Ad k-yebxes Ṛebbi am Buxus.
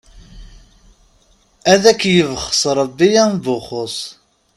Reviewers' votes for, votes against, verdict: 2, 0, accepted